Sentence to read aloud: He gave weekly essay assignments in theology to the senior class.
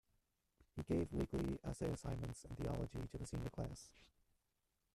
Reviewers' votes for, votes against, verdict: 0, 2, rejected